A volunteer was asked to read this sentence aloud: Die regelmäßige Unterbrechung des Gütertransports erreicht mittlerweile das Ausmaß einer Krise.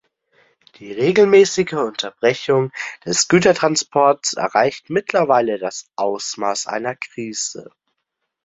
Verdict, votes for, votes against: accepted, 2, 0